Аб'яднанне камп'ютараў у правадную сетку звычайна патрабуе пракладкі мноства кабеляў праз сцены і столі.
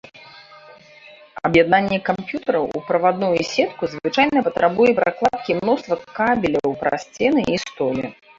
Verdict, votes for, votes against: rejected, 0, 2